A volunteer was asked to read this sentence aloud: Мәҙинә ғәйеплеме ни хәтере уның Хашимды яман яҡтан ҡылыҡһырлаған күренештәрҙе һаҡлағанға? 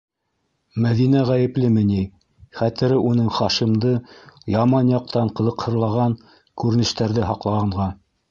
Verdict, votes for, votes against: rejected, 1, 2